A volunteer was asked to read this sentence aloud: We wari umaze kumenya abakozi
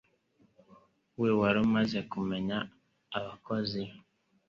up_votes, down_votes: 3, 0